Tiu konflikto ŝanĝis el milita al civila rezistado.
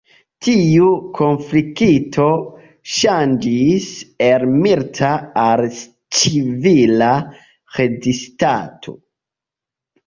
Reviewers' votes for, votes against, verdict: 1, 2, rejected